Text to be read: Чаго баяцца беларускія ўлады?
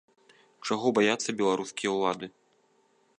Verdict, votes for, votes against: accepted, 2, 0